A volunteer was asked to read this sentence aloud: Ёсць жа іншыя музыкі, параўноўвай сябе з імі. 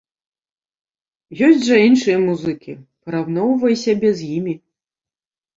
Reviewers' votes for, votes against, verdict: 2, 0, accepted